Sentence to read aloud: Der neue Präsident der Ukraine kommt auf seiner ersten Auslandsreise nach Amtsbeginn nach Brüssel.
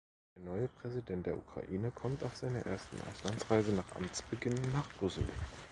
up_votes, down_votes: 0, 2